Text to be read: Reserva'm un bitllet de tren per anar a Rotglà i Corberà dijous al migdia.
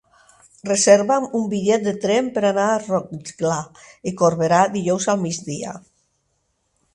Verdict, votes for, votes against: rejected, 2, 4